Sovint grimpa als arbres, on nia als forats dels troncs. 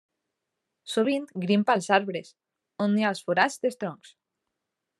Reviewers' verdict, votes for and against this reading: accepted, 2, 0